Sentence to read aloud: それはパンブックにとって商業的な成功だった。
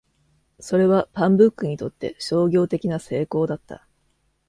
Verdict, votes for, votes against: accepted, 2, 0